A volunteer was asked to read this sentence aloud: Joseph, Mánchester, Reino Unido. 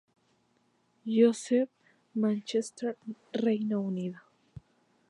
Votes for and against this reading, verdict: 0, 2, rejected